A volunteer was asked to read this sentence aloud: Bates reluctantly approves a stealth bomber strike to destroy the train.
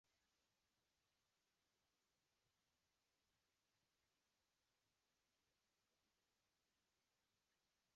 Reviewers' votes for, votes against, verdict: 0, 2, rejected